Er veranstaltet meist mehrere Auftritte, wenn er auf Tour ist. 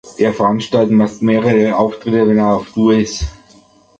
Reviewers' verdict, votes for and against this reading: rejected, 0, 2